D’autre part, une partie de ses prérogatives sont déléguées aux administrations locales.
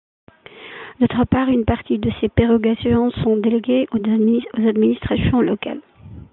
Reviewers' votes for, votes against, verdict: 0, 2, rejected